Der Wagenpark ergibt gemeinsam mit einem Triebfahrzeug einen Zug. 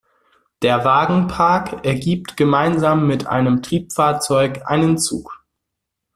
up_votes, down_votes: 2, 0